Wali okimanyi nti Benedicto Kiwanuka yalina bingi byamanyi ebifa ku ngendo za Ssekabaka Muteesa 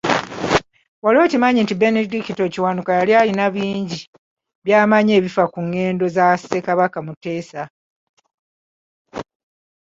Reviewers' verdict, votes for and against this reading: accepted, 2, 1